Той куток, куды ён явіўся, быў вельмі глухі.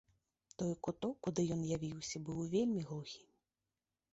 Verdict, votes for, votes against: accepted, 2, 0